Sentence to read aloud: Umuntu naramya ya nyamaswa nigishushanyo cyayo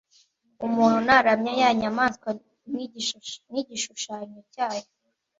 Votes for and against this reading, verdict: 1, 2, rejected